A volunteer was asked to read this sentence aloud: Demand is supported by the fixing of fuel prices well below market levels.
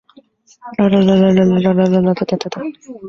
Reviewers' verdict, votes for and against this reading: rejected, 0, 2